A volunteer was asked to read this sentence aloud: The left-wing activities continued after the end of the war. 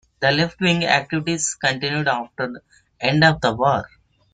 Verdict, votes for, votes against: rejected, 0, 2